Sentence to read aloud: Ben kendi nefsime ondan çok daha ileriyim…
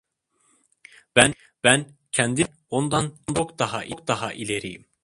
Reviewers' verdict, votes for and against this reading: rejected, 0, 2